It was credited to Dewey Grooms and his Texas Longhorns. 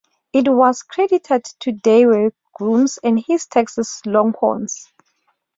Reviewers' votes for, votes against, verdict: 2, 0, accepted